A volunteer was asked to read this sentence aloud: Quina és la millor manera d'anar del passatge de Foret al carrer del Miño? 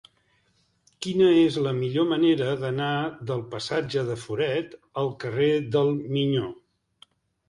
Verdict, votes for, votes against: accepted, 2, 1